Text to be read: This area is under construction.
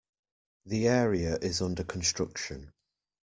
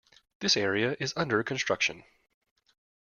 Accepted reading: second